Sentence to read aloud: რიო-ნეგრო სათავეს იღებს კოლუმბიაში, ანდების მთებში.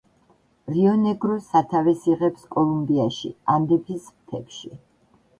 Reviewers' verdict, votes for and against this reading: accepted, 2, 0